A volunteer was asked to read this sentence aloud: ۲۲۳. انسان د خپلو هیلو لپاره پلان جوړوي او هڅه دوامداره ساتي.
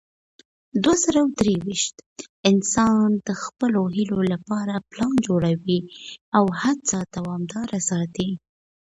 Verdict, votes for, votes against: rejected, 0, 2